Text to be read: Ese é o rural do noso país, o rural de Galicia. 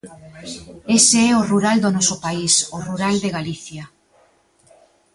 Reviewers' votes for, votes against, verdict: 2, 0, accepted